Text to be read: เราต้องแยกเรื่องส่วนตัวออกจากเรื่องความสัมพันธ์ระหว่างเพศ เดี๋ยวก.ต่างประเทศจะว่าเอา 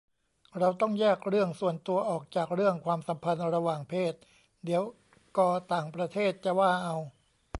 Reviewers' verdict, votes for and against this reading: rejected, 0, 2